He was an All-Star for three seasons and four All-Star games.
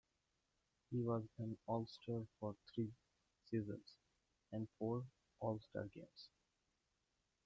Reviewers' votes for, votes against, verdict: 2, 1, accepted